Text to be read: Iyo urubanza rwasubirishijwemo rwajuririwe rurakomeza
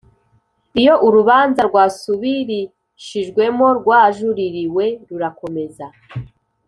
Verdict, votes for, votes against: accepted, 2, 0